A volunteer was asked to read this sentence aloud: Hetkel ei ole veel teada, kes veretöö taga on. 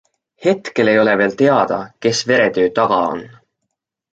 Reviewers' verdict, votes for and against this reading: accepted, 2, 0